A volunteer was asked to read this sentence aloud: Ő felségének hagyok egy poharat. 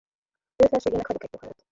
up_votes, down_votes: 0, 2